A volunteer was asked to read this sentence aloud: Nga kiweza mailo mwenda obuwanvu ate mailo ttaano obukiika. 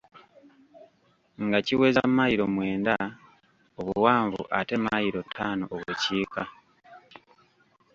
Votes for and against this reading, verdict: 1, 2, rejected